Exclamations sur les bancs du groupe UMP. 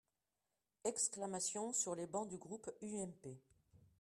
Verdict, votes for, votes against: accepted, 2, 1